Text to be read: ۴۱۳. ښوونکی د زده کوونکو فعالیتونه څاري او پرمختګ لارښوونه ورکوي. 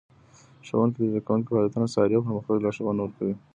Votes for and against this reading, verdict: 0, 2, rejected